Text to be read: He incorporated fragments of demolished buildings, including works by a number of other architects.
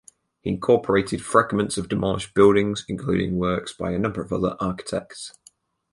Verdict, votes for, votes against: accepted, 4, 0